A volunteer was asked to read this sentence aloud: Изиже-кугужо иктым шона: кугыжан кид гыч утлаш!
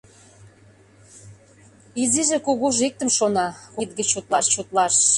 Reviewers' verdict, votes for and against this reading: rejected, 0, 2